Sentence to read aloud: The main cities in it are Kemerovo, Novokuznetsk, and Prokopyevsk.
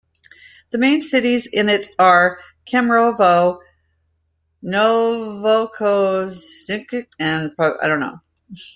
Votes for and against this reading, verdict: 0, 2, rejected